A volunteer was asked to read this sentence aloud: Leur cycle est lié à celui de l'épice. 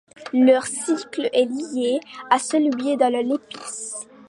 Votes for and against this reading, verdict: 2, 0, accepted